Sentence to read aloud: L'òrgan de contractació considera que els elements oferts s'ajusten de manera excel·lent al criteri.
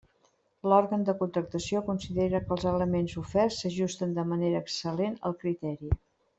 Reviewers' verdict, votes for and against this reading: accepted, 3, 0